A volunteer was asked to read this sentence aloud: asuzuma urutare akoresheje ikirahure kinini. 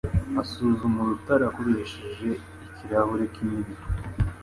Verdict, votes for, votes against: accepted, 2, 0